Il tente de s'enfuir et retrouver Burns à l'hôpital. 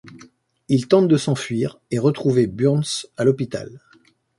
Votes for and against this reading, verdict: 2, 0, accepted